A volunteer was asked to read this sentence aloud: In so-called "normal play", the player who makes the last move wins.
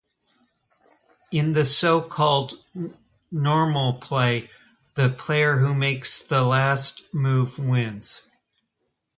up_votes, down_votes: 0, 2